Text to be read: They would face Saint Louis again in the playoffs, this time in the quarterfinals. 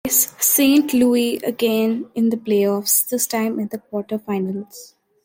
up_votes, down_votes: 1, 2